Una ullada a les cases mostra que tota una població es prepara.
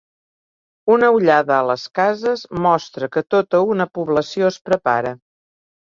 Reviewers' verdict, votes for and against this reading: accepted, 3, 0